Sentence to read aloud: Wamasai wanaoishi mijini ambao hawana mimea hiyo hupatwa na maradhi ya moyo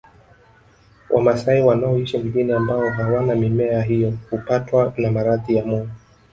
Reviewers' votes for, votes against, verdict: 1, 2, rejected